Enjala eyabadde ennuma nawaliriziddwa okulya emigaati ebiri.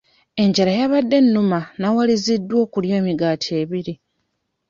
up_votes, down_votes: 0, 2